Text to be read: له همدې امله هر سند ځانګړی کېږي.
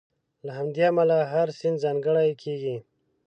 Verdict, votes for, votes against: rejected, 0, 2